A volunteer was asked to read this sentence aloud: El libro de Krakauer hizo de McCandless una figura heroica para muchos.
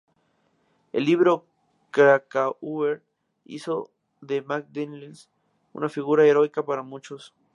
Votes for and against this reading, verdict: 0, 2, rejected